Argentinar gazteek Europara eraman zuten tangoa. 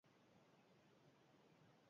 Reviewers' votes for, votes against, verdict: 0, 2, rejected